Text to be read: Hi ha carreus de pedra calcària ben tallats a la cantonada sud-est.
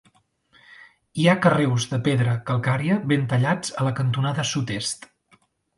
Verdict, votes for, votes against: accepted, 3, 0